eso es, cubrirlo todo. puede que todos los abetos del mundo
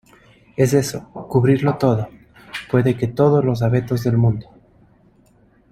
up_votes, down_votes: 1, 2